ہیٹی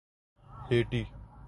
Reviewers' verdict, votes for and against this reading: accepted, 2, 0